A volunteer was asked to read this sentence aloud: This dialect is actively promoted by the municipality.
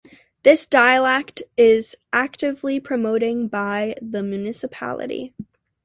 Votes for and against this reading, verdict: 0, 2, rejected